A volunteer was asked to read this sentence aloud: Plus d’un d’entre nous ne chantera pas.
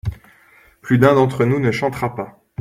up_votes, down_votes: 2, 1